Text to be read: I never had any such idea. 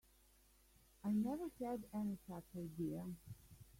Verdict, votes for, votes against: rejected, 0, 2